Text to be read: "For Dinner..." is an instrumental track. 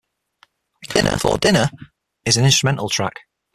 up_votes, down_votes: 3, 6